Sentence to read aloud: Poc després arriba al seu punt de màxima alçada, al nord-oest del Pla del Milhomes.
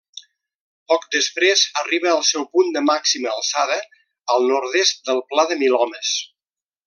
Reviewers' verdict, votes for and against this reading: rejected, 0, 2